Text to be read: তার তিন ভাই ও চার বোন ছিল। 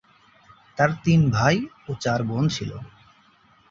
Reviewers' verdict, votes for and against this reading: accepted, 3, 2